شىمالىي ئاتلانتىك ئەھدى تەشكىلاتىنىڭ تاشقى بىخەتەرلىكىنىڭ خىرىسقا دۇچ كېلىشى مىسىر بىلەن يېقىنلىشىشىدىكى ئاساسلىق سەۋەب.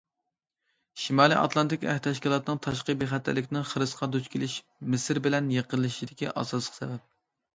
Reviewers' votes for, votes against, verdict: 1, 2, rejected